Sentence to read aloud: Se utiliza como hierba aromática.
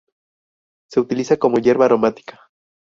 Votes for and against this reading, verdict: 2, 0, accepted